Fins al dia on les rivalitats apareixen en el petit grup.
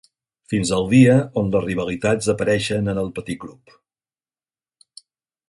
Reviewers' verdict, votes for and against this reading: accepted, 4, 0